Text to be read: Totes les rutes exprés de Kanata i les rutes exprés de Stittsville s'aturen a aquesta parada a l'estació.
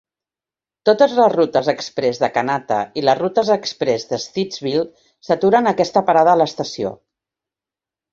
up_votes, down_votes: 2, 0